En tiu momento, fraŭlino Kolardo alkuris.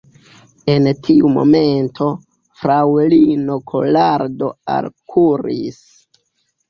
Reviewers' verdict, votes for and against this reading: accepted, 2, 1